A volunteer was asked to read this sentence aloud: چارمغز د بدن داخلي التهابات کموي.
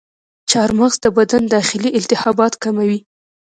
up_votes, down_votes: 2, 0